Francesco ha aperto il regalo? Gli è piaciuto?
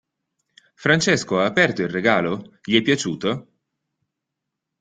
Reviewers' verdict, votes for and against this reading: accepted, 2, 0